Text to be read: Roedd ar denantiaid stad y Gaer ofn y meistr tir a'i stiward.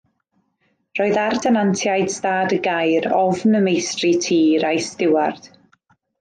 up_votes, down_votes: 1, 2